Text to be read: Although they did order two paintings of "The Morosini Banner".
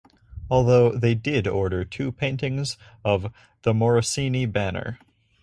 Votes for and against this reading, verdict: 4, 0, accepted